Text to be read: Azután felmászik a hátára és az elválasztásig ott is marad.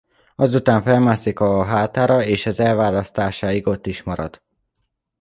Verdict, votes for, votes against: rejected, 1, 2